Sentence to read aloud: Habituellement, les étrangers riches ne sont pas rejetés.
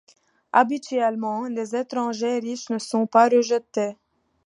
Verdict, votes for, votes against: accepted, 2, 0